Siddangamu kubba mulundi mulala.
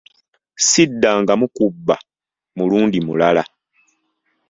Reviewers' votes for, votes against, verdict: 2, 0, accepted